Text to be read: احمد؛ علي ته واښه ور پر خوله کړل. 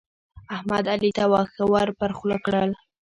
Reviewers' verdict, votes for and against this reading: rejected, 0, 2